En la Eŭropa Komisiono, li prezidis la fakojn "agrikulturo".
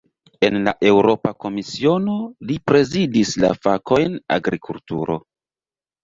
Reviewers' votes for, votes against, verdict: 2, 0, accepted